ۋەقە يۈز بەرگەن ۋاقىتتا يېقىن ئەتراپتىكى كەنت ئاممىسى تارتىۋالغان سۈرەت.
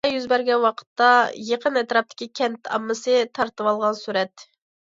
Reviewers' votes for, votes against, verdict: 1, 2, rejected